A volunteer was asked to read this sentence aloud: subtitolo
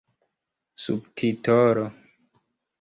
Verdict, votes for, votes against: rejected, 1, 2